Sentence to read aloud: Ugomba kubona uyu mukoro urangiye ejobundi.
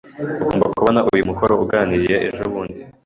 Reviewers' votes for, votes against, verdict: 3, 1, accepted